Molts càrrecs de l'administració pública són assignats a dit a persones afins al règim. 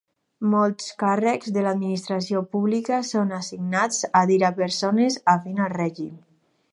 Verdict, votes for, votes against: rejected, 2, 4